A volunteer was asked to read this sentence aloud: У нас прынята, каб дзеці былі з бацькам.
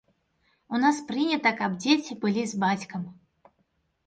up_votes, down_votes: 2, 0